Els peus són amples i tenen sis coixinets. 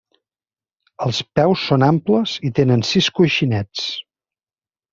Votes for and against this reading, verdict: 3, 0, accepted